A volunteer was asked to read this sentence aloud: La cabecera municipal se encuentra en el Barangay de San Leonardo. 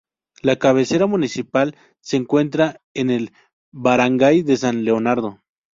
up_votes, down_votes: 0, 2